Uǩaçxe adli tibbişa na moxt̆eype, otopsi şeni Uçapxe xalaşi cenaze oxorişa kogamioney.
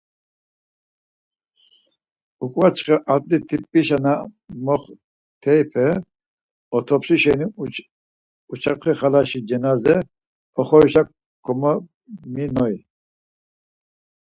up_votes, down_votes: 2, 4